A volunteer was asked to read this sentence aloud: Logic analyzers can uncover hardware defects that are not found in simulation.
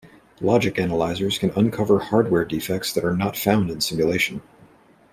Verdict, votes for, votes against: accepted, 2, 0